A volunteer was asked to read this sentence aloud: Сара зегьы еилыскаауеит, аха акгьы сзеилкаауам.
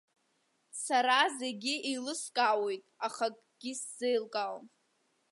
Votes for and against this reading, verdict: 2, 0, accepted